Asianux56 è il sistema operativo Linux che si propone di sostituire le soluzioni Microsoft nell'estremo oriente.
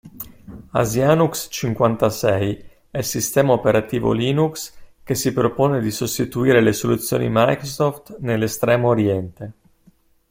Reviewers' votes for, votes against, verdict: 0, 2, rejected